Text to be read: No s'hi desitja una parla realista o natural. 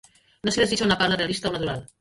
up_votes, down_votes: 0, 2